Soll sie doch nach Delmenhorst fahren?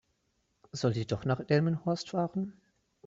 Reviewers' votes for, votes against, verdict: 3, 0, accepted